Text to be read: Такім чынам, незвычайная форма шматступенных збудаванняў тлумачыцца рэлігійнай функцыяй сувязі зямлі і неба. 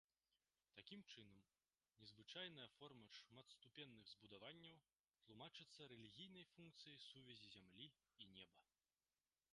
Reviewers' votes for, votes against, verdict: 1, 2, rejected